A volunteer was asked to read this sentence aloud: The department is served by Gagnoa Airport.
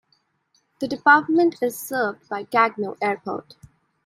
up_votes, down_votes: 2, 1